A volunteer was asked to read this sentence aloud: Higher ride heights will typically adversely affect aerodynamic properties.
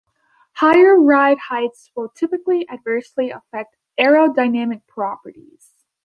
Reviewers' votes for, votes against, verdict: 2, 0, accepted